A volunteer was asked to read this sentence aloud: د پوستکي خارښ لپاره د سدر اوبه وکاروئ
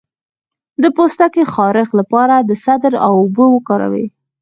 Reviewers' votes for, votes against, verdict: 4, 0, accepted